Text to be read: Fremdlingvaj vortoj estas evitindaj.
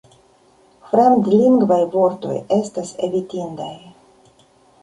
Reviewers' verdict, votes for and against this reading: accepted, 3, 2